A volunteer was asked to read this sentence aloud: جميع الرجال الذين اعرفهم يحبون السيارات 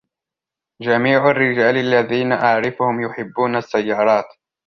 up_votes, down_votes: 2, 0